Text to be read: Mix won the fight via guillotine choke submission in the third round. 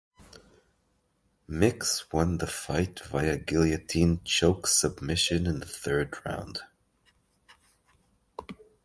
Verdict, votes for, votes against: accepted, 3, 0